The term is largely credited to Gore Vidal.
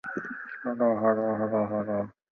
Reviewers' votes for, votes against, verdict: 0, 2, rejected